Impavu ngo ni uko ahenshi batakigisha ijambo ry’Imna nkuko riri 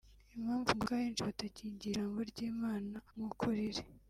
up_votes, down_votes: 0, 2